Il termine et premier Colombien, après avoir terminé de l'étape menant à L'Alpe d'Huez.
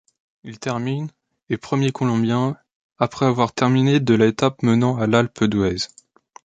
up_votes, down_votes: 2, 0